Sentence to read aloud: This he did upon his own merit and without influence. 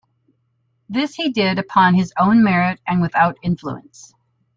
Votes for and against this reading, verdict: 2, 0, accepted